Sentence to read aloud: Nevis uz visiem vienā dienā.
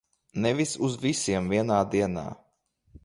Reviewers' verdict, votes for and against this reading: accepted, 2, 0